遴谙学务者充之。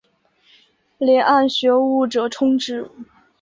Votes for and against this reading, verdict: 6, 0, accepted